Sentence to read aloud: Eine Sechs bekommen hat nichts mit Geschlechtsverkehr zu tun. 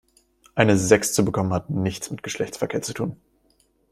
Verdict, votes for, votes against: rejected, 1, 2